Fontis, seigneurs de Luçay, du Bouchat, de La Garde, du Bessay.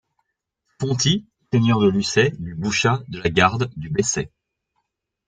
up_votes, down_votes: 2, 0